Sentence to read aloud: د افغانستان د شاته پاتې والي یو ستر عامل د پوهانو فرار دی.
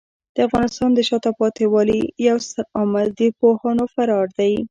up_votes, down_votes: 2, 1